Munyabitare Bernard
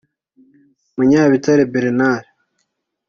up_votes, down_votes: 2, 0